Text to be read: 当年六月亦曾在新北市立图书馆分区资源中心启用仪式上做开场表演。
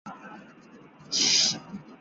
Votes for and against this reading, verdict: 0, 5, rejected